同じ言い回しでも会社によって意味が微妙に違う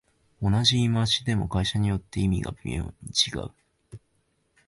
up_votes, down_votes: 1, 2